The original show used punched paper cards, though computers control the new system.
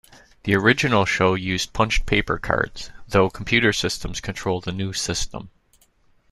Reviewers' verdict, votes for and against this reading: rejected, 0, 2